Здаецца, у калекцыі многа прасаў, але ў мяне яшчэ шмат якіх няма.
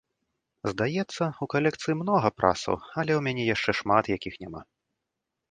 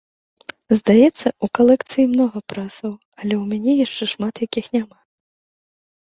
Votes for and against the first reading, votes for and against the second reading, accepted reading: 2, 1, 1, 2, first